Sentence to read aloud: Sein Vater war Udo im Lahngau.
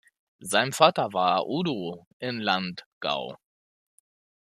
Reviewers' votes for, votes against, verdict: 0, 2, rejected